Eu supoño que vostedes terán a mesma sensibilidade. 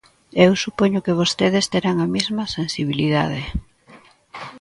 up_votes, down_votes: 2, 0